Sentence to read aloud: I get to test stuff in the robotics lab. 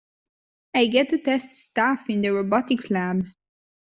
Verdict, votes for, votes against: accepted, 2, 0